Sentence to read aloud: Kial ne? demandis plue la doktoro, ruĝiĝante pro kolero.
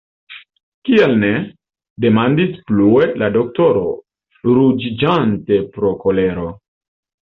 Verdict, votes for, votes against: rejected, 0, 2